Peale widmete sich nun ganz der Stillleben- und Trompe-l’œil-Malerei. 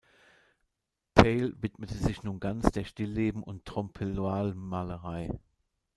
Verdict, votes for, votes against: rejected, 1, 2